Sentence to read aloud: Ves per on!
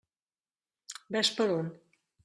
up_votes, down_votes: 3, 0